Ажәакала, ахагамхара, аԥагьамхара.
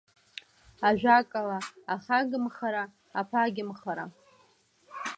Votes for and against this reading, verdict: 2, 0, accepted